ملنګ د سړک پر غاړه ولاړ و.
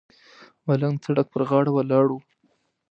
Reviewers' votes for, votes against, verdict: 2, 1, accepted